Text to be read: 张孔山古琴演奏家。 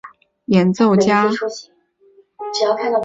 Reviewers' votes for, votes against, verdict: 0, 2, rejected